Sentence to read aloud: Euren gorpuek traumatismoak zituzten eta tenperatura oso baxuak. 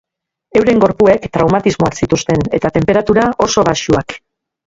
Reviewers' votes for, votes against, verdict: 1, 2, rejected